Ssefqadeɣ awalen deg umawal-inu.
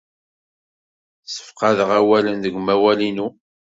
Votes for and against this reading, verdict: 2, 0, accepted